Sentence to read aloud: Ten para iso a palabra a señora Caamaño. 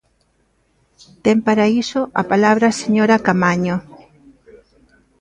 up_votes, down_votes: 1, 2